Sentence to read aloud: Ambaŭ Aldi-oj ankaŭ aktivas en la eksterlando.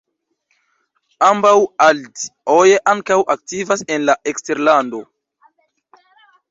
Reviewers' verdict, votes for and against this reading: rejected, 0, 2